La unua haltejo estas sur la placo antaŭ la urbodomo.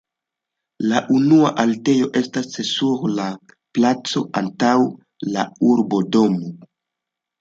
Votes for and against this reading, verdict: 0, 2, rejected